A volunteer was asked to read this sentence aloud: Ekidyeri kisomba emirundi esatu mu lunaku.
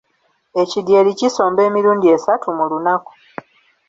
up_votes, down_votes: 2, 1